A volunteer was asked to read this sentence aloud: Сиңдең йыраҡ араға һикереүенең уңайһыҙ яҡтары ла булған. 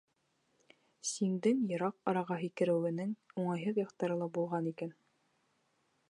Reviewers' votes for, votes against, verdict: 1, 2, rejected